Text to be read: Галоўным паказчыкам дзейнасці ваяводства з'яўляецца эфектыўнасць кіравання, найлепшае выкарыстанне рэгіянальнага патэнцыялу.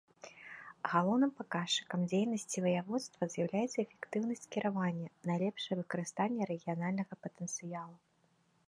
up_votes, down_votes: 2, 0